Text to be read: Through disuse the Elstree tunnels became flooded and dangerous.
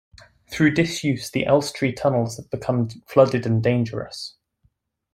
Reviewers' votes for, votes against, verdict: 1, 2, rejected